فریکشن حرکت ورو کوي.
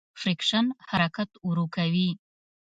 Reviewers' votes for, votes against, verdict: 2, 0, accepted